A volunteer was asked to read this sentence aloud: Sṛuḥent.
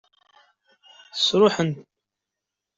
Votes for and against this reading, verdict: 1, 2, rejected